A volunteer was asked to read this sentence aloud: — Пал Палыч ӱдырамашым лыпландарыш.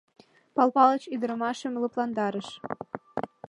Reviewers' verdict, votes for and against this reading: accepted, 2, 0